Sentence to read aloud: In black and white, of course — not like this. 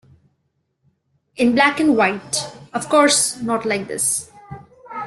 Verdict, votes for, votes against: accepted, 2, 0